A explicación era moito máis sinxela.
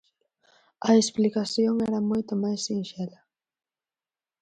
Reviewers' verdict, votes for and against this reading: accepted, 4, 0